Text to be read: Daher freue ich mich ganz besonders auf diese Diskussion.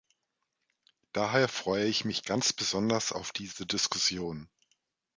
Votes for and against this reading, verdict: 2, 1, accepted